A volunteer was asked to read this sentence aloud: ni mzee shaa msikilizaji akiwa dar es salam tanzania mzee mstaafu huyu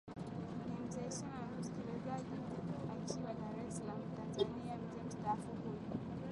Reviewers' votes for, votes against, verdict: 0, 2, rejected